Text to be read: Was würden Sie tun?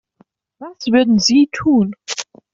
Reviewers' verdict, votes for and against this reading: accepted, 2, 0